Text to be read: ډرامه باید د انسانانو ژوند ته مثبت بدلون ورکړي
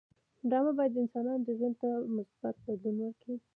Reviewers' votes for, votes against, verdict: 2, 0, accepted